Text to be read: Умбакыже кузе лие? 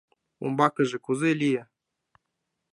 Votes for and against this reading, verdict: 2, 0, accepted